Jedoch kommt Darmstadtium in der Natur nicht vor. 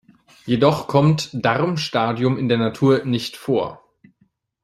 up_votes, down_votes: 0, 2